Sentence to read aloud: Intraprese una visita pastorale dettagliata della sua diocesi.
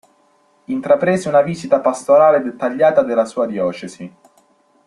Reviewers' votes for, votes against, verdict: 2, 0, accepted